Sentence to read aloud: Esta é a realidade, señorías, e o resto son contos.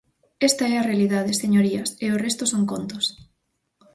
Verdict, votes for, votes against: accepted, 4, 0